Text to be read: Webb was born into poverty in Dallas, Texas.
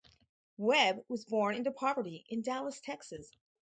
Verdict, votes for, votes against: accepted, 4, 0